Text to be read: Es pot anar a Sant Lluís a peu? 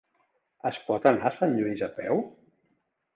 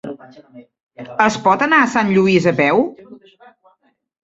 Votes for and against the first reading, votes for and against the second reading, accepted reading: 3, 1, 0, 2, first